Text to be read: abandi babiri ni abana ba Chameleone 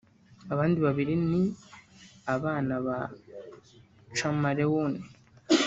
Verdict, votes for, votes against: rejected, 1, 2